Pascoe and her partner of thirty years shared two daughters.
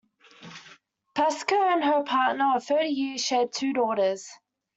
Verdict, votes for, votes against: accepted, 2, 0